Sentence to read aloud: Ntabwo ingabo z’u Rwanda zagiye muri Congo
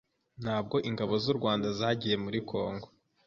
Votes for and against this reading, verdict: 2, 0, accepted